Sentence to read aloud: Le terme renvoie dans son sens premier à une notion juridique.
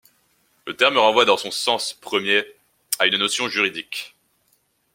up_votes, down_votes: 2, 0